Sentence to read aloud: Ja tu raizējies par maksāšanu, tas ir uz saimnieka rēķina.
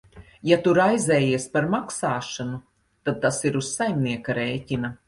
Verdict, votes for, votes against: rejected, 1, 2